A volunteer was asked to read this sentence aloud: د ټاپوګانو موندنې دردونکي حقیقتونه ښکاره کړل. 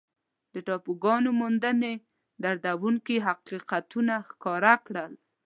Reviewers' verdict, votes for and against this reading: accepted, 2, 0